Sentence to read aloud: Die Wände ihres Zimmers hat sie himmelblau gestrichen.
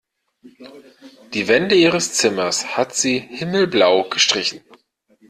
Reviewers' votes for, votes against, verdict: 2, 0, accepted